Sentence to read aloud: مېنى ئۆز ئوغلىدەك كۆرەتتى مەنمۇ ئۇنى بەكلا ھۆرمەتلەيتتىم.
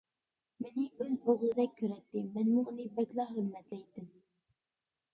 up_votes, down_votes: 2, 0